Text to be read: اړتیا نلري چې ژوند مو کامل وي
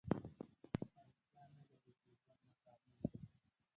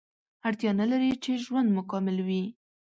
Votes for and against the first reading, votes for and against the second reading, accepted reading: 0, 2, 2, 0, second